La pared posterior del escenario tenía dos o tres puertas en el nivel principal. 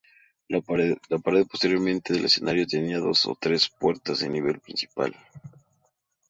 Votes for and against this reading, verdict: 0, 2, rejected